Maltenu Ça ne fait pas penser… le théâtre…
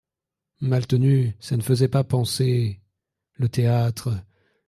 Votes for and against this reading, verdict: 1, 2, rejected